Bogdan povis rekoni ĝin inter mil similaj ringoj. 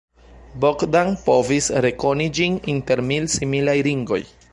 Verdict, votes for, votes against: accepted, 2, 0